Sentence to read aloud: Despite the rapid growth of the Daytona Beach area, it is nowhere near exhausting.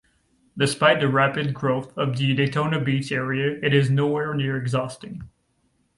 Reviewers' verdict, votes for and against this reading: accepted, 2, 0